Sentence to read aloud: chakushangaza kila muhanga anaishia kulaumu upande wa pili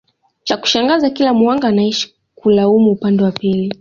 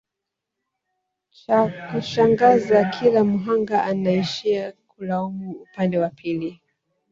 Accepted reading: first